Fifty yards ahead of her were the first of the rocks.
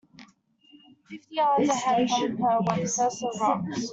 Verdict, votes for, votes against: rejected, 1, 2